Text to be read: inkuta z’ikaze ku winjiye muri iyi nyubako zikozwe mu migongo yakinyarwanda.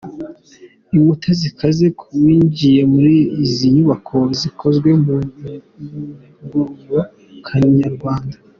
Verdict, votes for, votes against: rejected, 0, 2